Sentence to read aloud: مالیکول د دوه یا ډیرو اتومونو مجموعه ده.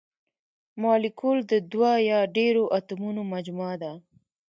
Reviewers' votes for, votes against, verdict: 1, 2, rejected